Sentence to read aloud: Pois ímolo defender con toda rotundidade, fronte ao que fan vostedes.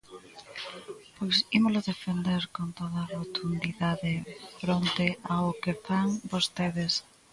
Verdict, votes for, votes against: rejected, 1, 2